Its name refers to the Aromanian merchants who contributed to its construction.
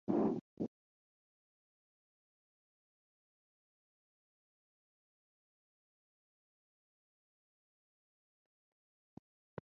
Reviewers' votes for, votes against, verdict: 0, 4, rejected